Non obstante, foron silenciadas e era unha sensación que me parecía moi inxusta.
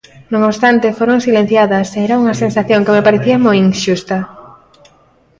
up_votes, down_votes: 1, 2